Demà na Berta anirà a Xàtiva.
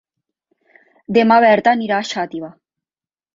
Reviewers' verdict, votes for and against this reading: rejected, 0, 3